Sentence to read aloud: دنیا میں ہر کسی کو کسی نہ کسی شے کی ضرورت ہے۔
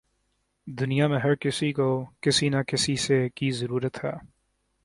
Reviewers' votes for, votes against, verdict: 3, 4, rejected